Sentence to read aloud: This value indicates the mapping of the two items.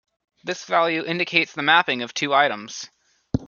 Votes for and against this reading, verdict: 1, 2, rejected